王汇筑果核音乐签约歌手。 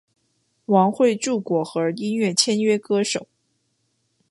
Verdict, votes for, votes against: accepted, 2, 0